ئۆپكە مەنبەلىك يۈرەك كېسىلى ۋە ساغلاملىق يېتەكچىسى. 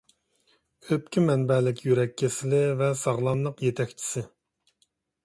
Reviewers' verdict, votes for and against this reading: accepted, 2, 0